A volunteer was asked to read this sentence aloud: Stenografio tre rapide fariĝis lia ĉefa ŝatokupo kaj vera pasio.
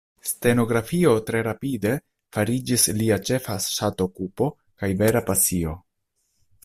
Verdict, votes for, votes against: accepted, 2, 1